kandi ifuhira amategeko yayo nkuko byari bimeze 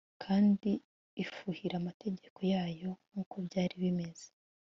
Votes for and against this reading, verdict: 2, 0, accepted